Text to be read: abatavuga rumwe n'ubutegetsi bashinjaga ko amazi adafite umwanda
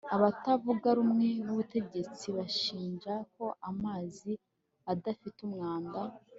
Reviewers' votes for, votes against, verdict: 1, 2, rejected